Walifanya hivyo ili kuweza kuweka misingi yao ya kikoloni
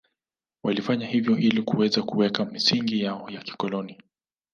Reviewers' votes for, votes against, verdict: 2, 0, accepted